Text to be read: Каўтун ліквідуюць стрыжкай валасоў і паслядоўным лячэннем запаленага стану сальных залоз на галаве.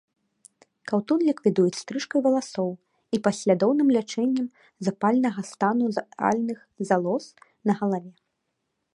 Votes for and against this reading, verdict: 1, 2, rejected